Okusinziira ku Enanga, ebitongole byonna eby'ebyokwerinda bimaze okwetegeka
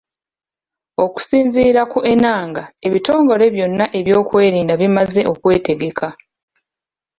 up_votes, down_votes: 2, 0